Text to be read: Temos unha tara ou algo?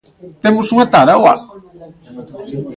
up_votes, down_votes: 1, 2